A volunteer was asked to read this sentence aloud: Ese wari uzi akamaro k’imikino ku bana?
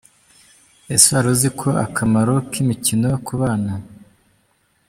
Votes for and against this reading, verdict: 0, 2, rejected